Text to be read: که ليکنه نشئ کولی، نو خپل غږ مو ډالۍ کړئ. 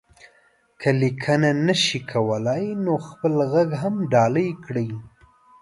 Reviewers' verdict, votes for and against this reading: rejected, 0, 2